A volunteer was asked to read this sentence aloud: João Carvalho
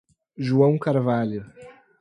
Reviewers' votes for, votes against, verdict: 4, 0, accepted